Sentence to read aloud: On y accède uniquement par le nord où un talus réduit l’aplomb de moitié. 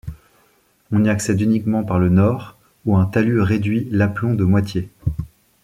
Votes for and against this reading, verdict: 2, 0, accepted